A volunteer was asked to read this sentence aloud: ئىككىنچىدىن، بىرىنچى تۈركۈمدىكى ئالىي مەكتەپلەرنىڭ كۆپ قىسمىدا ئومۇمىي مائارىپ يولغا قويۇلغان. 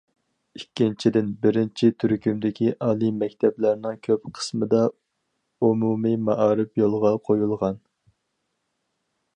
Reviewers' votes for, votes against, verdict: 4, 0, accepted